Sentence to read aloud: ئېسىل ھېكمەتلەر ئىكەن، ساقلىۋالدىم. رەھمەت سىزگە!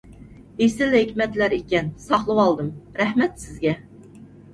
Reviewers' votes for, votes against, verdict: 2, 0, accepted